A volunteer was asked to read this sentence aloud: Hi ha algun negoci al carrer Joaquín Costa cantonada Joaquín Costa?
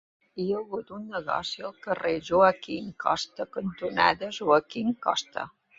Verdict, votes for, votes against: rejected, 0, 2